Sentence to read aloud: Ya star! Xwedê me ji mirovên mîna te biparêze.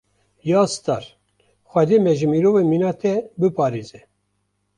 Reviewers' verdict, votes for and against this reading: accepted, 2, 1